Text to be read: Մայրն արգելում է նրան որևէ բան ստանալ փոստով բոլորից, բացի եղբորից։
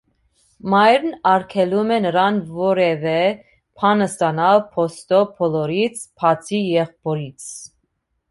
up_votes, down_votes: 2, 0